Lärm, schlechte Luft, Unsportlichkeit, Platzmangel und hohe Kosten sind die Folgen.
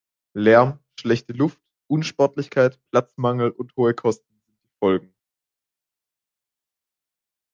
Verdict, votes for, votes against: rejected, 1, 3